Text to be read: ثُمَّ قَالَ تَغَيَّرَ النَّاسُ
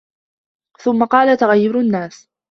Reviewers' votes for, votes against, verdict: 1, 2, rejected